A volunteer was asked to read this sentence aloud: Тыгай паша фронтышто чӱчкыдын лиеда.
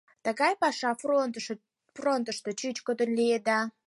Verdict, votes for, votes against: rejected, 0, 4